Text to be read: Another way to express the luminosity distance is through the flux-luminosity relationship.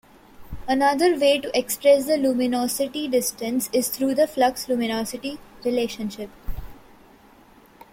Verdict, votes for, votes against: rejected, 1, 2